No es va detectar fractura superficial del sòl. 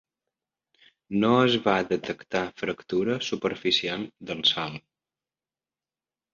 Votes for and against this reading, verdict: 3, 0, accepted